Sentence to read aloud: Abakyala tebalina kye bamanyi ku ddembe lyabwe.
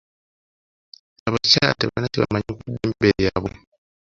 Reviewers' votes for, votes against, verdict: 0, 2, rejected